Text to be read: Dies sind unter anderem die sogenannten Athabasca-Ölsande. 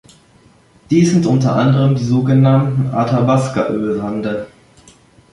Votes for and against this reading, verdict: 2, 1, accepted